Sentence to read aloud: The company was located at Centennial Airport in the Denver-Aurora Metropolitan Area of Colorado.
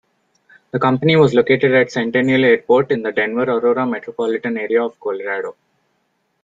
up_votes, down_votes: 1, 2